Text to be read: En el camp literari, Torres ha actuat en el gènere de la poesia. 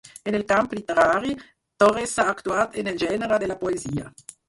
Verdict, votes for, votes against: rejected, 2, 4